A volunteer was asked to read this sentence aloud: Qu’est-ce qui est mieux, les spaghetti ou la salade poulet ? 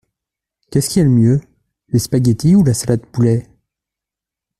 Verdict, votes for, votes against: rejected, 1, 2